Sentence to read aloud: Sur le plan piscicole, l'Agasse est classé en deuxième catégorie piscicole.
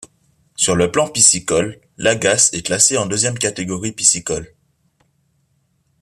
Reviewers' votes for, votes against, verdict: 2, 0, accepted